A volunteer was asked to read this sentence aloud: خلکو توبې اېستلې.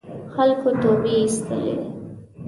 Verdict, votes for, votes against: accepted, 2, 0